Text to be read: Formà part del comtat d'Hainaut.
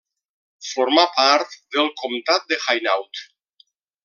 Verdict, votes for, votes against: rejected, 1, 2